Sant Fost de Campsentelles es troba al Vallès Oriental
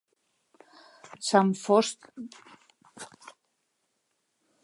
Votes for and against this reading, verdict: 0, 2, rejected